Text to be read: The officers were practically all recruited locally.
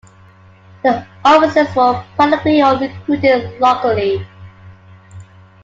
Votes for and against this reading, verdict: 1, 2, rejected